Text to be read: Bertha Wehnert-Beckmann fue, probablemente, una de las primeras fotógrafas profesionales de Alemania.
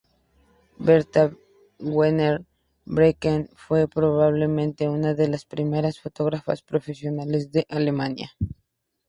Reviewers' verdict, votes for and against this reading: rejected, 0, 2